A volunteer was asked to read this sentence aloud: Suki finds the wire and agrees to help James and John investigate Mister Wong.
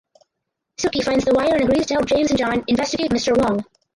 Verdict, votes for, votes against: rejected, 0, 4